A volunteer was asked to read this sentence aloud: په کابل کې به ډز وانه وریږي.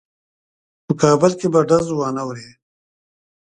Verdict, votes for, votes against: accepted, 2, 0